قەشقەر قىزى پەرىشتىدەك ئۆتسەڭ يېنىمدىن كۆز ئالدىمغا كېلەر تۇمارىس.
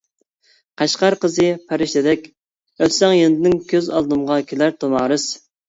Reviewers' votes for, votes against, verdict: 1, 2, rejected